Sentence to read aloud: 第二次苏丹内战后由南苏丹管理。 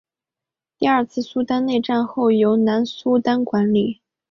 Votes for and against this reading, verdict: 4, 0, accepted